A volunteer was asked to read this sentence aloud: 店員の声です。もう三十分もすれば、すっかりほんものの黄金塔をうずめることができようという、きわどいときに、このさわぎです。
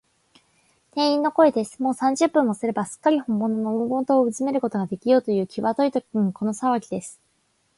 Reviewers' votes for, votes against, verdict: 3, 0, accepted